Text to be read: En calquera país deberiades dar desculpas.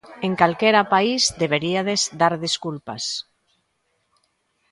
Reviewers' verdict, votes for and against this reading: rejected, 0, 2